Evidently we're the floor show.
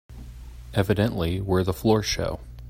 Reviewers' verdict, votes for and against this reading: accepted, 2, 0